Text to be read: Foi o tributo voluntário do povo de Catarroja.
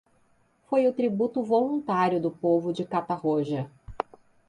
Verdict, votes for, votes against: accepted, 2, 0